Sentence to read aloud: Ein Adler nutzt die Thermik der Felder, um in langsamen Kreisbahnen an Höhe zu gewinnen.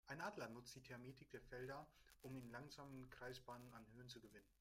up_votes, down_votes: 0, 2